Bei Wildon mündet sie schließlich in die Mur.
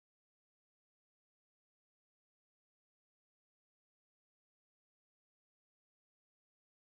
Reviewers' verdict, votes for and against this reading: rejected, 0, 2